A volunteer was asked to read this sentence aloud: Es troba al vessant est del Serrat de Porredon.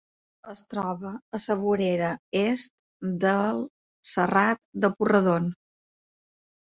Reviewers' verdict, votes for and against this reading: accepted, 2, 0